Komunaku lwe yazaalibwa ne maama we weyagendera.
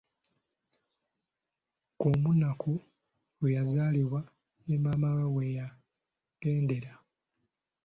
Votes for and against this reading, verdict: 1, 2, rejected